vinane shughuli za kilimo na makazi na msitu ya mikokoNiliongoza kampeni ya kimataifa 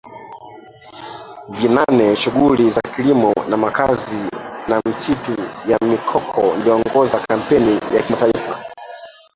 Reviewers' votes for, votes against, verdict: 0, 2, rejected